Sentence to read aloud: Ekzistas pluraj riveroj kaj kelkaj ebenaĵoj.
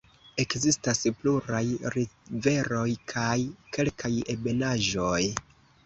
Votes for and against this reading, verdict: 2, 0, accepted